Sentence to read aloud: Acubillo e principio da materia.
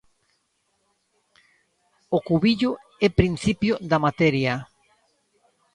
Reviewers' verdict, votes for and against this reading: rejected, 0, 2